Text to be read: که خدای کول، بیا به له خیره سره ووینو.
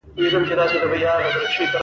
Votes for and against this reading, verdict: 1, 2, rejected